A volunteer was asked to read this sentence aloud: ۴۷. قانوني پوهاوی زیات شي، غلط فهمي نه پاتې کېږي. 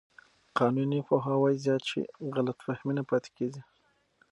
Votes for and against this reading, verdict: 0, 2, rejected